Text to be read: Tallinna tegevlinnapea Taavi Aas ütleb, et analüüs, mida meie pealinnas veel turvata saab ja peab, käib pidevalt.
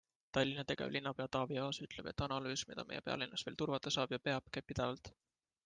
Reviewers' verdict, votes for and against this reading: accepted, 2, 1